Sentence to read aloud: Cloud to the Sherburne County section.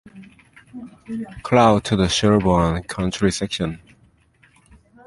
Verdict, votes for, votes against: accepted, 2, 1